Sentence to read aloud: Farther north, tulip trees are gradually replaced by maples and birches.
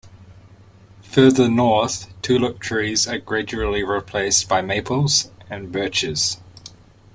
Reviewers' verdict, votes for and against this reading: accepted, 2, 0